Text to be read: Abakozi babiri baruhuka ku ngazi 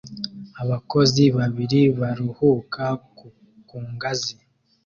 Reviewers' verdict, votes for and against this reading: accepted, 2, 0